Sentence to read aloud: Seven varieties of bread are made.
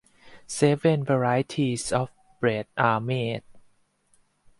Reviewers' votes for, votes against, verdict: 4, 0, accepted